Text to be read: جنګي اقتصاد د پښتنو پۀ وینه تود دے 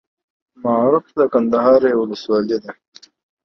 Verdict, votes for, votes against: rejected, 1, 2